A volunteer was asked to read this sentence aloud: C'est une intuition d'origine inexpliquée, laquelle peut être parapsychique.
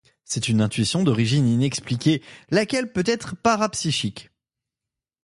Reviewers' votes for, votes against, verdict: 2, 0, accepted